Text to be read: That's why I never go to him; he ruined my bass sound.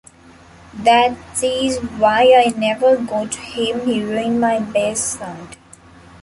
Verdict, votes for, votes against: rejected, 0, 2